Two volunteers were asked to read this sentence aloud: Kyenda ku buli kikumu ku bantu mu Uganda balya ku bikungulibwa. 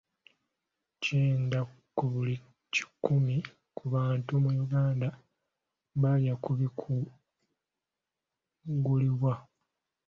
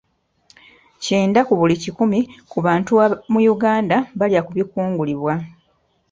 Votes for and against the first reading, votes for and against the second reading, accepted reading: 1, 2, 2, 0, second